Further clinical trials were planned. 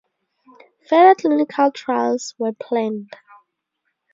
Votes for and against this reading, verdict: 2, 2, rejected